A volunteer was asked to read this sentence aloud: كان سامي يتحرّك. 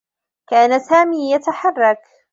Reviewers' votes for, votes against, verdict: 2, 0, accepted